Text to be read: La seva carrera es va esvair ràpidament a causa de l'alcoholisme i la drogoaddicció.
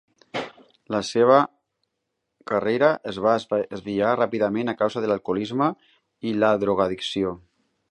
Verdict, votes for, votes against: rejected, 0, 2